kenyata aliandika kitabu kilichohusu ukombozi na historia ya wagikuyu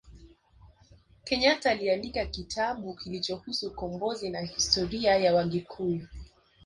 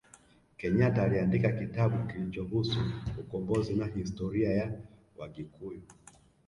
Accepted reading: first